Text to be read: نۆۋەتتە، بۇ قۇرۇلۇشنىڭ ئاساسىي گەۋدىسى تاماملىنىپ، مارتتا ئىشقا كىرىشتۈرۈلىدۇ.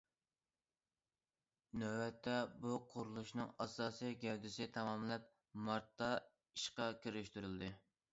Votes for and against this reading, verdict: 0, 2, rejected